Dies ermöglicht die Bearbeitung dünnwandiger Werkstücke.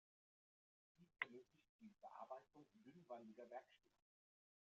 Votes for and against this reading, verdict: 0, 2, rejected